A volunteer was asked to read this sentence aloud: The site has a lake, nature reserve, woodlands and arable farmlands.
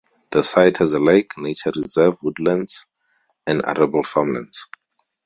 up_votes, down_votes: 4, 0